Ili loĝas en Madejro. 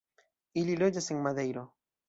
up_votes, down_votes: 1, 2